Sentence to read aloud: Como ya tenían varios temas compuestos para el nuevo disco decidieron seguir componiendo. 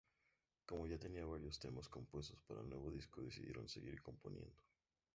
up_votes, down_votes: 2, 0